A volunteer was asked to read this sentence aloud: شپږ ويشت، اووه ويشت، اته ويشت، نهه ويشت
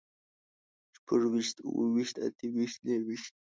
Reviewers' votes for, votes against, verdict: 2, 0, accepted